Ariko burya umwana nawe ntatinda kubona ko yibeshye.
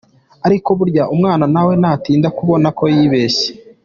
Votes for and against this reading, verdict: 2, 0, accepted